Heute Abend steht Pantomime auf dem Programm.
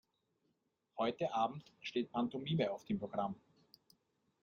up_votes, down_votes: 2, 0